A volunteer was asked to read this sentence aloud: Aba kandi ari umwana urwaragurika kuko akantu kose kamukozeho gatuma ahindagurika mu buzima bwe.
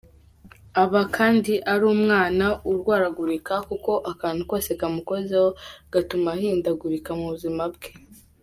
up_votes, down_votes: 2, 1